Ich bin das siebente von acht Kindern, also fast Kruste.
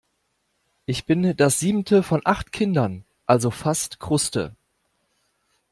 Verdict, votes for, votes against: rejected, 0, 2